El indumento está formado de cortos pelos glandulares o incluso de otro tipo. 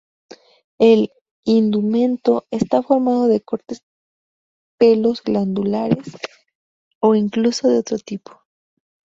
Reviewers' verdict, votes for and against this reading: accepted, 2, 0